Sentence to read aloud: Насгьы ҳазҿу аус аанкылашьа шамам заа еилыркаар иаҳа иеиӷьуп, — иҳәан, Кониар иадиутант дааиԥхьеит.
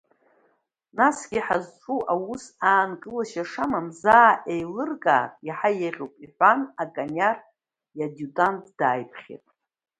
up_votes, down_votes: 2, 0